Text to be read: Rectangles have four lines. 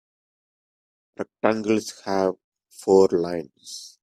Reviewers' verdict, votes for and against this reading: rejected, 1, 2